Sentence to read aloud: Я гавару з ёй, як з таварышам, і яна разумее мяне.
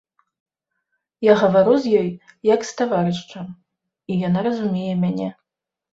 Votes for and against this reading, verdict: 0, 2, rejected